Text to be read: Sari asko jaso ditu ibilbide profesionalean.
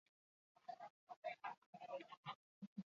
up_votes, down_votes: 0, 6